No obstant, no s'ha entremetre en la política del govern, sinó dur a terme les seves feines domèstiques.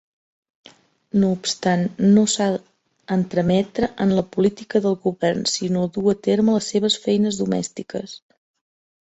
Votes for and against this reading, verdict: 1, 2, rejected